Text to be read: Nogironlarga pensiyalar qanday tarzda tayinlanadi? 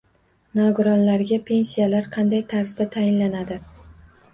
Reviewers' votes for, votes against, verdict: 2, 0, accepted